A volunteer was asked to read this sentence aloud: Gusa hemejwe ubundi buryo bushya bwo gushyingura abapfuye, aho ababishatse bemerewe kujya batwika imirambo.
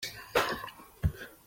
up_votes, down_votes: 0, 2